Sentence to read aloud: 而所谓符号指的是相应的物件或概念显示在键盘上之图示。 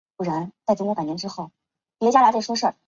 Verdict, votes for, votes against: rejected, 0, 2